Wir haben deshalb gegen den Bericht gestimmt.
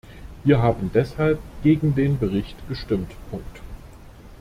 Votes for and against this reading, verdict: 0, 2, rejected